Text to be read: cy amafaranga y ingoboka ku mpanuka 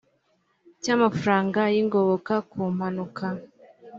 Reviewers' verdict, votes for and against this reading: accepted, 3, 0